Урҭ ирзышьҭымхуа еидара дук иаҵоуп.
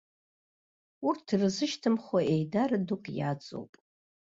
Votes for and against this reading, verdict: 2, 0, accepted